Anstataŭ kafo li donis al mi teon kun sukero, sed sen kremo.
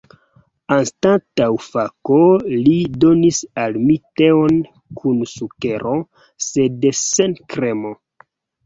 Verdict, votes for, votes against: rejected, 0, 2